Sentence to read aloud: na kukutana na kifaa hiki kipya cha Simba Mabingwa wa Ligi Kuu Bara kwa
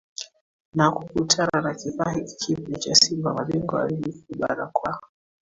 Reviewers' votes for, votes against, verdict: 2, 1, accepted